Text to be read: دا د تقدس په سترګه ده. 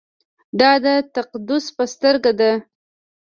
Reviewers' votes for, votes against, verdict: 2, 0, accepted